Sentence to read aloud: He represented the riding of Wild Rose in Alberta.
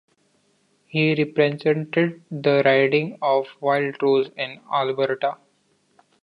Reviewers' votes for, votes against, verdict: 0, 2, rejected